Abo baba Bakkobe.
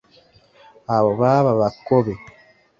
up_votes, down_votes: 0, 2